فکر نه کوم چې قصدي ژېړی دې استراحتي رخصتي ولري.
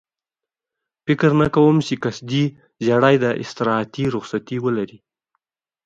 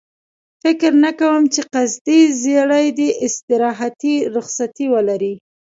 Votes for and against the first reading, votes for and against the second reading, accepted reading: 2, 0, 1, 2, first